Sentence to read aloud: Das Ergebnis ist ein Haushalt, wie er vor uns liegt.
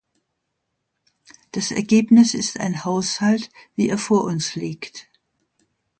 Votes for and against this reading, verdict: 2, 0, accepted